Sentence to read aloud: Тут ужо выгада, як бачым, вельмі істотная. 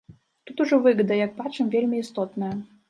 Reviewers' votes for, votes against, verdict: 0, 2, rejected